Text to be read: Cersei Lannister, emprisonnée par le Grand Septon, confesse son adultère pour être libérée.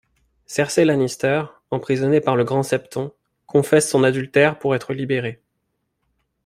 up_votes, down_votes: 2, 0